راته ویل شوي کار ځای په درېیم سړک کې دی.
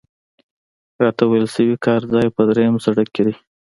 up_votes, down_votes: 2, 0